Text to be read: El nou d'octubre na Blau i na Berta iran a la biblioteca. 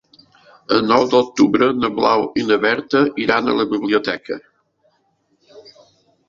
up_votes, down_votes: 2, 0